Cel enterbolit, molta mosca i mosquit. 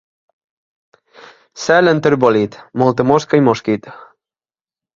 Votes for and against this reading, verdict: 2, 0, accepted